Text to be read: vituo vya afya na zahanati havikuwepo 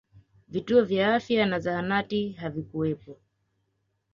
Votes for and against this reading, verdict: 2, 0, accepted